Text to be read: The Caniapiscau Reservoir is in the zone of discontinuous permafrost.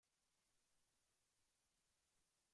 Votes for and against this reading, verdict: 0, 2, rejected